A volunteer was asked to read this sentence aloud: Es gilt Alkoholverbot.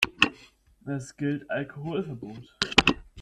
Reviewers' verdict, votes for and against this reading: accepted, 2, 0